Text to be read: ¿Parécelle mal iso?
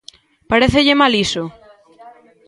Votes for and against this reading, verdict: 2, 1, accepted